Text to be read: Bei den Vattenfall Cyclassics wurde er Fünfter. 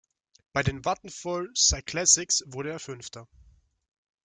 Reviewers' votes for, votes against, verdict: 2, 0, accepted